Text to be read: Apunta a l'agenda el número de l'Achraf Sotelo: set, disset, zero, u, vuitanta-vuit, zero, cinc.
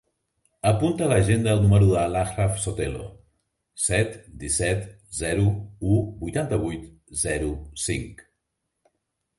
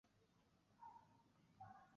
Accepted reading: first